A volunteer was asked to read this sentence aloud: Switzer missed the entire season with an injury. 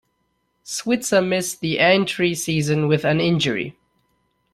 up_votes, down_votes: 0, 2